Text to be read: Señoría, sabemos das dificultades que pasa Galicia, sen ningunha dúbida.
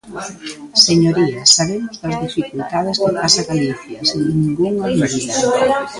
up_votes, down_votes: 0, 2